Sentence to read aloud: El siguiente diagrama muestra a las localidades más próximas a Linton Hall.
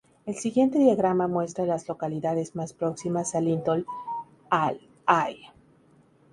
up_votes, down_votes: 0, 2